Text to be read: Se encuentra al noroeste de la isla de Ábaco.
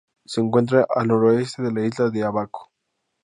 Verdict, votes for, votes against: accepted, 2, 0